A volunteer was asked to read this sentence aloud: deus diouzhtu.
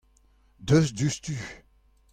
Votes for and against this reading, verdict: 2, 0, accepted